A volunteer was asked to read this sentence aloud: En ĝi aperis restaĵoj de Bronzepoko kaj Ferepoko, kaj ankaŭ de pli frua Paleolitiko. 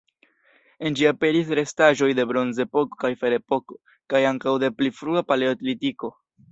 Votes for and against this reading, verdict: 1, 2, rejected